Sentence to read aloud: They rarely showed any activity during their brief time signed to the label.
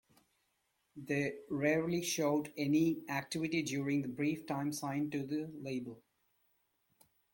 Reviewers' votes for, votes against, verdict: 0, 2, rejected